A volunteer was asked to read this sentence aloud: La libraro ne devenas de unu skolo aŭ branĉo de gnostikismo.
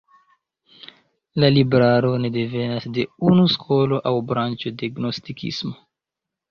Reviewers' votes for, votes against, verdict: 2, 0, accepted